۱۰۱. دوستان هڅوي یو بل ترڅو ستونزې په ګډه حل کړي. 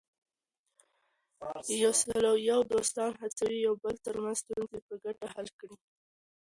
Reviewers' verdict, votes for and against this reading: rejected, 0, 2